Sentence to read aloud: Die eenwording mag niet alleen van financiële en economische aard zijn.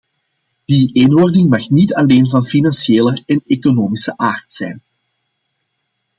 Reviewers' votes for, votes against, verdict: 2, 0, accepted